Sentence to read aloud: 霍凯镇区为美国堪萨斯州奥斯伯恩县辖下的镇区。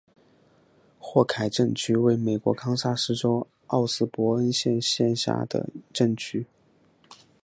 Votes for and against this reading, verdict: 3, 0, accepted